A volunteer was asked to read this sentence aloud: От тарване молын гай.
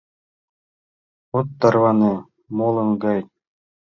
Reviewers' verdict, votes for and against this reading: accepted, 3, 0